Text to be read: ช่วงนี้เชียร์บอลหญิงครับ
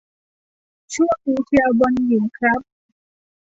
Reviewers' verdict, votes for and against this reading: accepted, 2, 0